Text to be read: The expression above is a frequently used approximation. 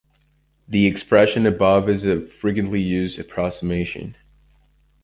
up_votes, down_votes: 1, 2